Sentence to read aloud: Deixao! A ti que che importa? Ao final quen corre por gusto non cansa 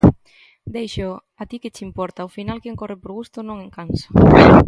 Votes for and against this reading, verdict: 1, 2, rejected